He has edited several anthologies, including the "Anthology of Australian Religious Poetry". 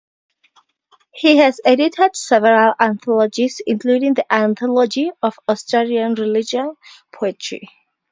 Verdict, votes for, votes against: accepted, 2, 0